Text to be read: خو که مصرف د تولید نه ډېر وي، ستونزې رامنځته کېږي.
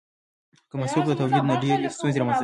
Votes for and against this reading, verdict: 1, 2, rejected